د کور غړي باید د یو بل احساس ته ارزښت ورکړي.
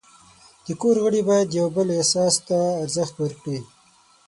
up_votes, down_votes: 6, 0